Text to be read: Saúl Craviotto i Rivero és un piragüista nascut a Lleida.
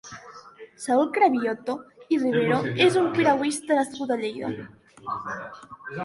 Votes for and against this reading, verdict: 1, 2, rejected